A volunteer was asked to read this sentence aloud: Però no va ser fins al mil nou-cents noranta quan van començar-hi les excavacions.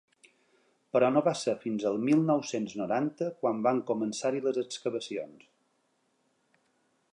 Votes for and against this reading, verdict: 2, 0, accepted